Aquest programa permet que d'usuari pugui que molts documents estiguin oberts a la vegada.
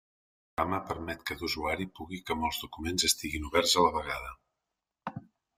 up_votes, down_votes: 0, 2